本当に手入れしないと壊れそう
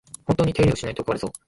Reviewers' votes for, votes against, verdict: 1, 2, rejected